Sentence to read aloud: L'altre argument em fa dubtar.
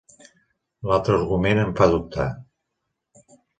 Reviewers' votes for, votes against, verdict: 2, 0, accepted